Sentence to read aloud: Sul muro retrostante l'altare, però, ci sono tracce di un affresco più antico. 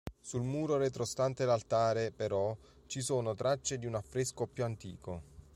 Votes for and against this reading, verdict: 2, 0, accepted